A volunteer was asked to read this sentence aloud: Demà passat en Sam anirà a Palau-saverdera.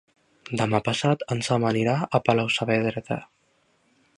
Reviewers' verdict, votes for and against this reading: rejected, 1, 2